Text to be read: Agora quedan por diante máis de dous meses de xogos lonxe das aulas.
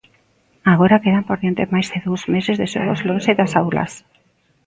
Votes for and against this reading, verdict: 0, 2, rejected